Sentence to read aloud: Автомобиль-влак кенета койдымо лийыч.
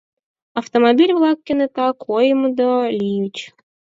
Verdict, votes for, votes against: rejected, 0, 4